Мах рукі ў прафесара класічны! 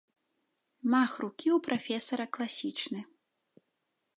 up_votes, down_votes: 2, 0